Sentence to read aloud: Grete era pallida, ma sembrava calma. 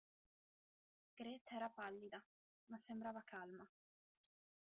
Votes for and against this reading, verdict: 2, 1, accepted